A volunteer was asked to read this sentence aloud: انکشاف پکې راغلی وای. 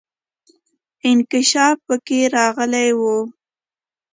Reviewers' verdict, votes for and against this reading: accepted, 2, 1